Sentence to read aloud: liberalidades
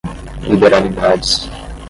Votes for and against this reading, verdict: 5, 0, accepted